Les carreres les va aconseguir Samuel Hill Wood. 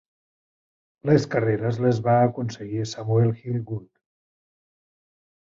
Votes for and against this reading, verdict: 4, 0, accepted